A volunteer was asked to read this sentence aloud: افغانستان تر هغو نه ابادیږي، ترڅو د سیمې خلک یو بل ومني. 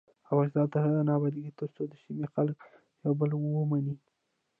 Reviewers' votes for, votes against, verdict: 0, 2, rejected